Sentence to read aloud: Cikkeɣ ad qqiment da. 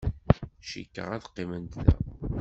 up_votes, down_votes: 2, 0